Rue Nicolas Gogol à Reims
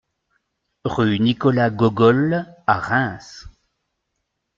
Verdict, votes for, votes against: accepted, 2, 0